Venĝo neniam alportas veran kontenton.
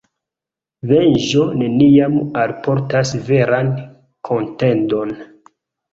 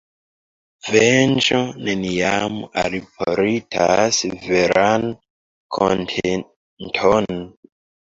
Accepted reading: first